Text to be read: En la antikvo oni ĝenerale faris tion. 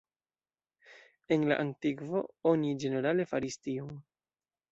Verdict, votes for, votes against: accepted, 2, 0